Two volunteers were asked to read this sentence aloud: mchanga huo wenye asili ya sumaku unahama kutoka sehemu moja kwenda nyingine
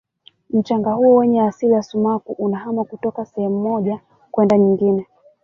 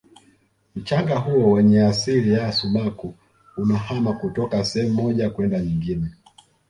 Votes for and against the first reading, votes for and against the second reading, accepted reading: 1, 2, 2, 1, second